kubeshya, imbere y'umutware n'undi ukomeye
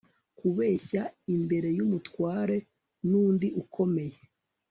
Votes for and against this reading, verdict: 3, 0, accepted